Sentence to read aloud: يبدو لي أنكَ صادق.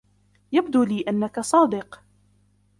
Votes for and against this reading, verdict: 3, 2, accepted